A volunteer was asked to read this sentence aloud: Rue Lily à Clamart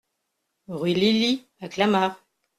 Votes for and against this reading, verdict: 2, 0, accepted